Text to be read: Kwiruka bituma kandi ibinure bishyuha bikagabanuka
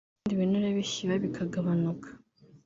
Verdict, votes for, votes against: rejected, 0, 2